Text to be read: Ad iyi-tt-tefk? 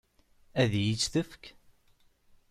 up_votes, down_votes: 2, 0